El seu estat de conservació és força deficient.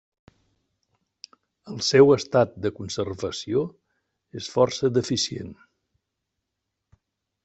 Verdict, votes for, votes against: accepted, 3, 0